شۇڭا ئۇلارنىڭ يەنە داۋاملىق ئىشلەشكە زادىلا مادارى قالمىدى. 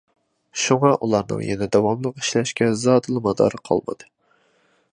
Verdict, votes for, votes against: accepted, 2, 0